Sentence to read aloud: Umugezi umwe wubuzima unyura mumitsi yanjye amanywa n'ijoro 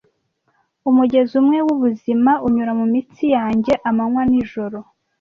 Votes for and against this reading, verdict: 2, 0, accepted